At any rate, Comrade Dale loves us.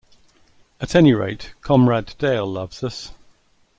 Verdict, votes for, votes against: accepted, 2, 0